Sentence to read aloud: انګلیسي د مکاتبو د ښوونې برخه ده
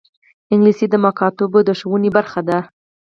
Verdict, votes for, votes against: rejected, 2, 4